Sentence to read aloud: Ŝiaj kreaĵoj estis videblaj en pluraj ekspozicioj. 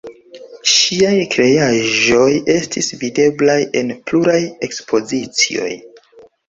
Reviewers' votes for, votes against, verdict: 2, 0, accepted